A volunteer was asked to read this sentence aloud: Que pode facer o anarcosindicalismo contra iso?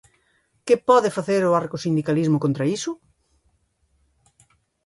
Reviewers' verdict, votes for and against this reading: rejected, 0, 2